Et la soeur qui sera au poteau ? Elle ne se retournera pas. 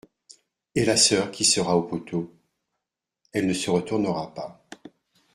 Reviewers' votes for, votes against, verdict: 2, 0, accepted